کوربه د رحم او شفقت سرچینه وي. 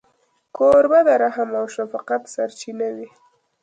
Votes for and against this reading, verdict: 1, 2, rejected